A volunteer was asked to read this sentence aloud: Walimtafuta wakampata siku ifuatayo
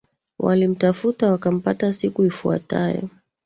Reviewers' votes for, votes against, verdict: 2, 1, accepted